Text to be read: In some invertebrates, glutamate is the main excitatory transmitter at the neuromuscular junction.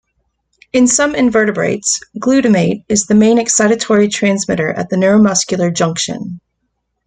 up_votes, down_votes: 2, 0